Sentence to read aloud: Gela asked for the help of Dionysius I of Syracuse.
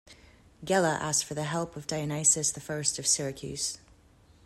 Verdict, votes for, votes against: rejected, 1, 2